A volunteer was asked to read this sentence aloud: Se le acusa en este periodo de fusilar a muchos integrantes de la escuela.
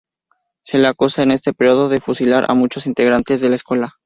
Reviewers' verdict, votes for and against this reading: accepted, 2, 0